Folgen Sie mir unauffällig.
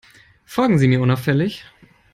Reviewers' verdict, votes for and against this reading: accepted, 3, 0